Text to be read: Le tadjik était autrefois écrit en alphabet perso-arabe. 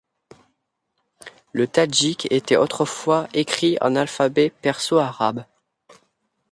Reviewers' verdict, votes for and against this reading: accepted, 2, 0